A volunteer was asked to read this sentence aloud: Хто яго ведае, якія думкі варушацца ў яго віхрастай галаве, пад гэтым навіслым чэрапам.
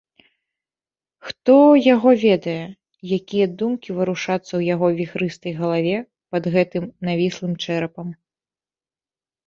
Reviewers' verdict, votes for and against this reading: rejected, 1, 2